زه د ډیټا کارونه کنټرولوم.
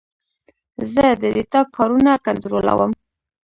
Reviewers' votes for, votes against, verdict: 2, 0, accepted